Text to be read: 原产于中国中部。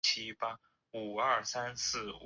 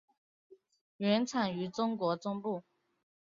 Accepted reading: second